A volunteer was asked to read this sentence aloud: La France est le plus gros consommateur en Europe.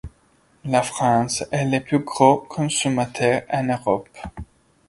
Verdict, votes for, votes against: accepted, 2, 1